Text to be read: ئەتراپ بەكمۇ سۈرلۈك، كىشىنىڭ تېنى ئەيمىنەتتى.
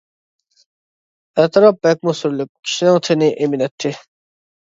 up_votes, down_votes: 2, 1